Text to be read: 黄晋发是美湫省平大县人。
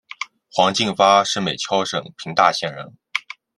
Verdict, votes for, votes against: accepted, 2, 1